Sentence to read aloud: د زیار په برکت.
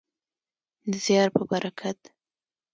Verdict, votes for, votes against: accepted, 2, 0